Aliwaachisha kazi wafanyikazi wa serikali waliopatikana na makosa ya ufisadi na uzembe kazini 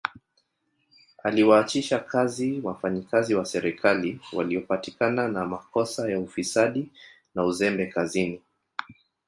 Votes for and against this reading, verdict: 1, 2, rejected